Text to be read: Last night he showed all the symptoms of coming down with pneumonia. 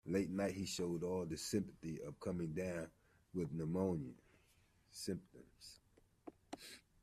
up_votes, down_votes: 0, 2